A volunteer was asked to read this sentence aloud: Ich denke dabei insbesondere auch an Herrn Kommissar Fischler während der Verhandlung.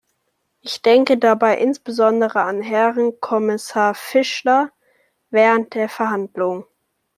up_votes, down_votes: 0, 2